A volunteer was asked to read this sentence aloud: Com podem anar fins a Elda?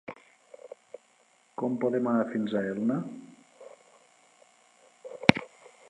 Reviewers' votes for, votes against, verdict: 1, 2, rejected